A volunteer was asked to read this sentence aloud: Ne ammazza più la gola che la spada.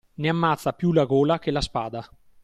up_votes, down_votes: 2, 0